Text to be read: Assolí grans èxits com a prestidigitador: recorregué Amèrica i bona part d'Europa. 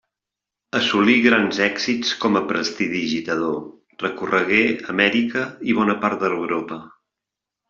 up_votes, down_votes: 2, 0